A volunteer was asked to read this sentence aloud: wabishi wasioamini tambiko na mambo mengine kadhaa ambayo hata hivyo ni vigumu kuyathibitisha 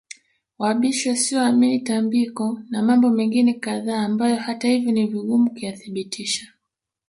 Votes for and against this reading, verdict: 1, 2, rejected